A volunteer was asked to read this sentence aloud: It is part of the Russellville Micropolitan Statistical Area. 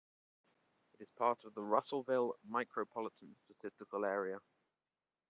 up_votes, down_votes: 1, 2